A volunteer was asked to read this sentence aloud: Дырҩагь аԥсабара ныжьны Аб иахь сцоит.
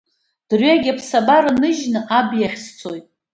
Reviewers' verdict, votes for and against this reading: accepted, 2, 0